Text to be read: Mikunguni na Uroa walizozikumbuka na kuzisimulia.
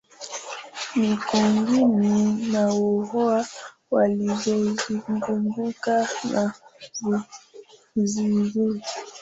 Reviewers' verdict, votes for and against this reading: rejected, 0, 2